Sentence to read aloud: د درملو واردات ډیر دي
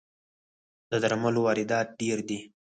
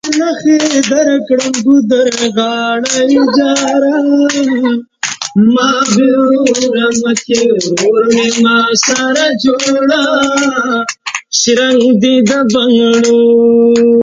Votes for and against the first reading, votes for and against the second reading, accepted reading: 4, 2, 0, 2, first